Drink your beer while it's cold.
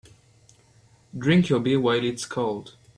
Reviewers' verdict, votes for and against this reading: accepted, 2, 0